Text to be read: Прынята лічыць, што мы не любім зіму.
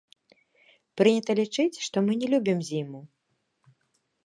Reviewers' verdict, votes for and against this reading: rejected, 0, 2